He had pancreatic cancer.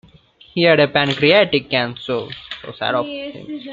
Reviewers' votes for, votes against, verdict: 0, 2, rejected